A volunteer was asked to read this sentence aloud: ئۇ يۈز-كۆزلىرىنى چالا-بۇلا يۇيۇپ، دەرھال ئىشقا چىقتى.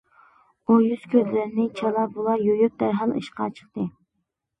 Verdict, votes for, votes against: accepted, 2, 0